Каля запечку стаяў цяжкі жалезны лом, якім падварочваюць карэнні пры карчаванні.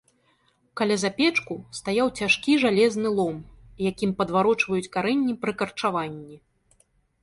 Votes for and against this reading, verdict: 3, 0, accepted